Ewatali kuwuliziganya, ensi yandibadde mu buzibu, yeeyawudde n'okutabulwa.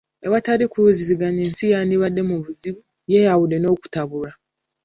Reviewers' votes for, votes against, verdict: 2, 0, accepted